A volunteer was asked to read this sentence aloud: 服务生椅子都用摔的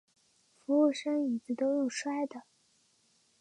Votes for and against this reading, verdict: 3, 0, accepted